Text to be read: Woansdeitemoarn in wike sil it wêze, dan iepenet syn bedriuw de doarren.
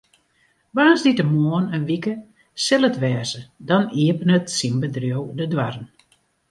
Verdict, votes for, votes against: accepted, 2, 0